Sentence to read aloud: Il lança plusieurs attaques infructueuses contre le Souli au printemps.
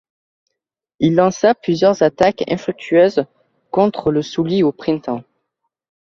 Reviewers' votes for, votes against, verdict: 2, 0, accepted